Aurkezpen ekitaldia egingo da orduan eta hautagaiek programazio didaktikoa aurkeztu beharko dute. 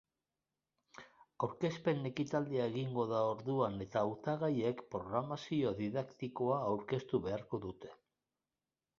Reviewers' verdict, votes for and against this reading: rejected, 1, 2